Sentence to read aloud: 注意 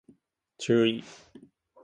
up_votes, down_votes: 6, 2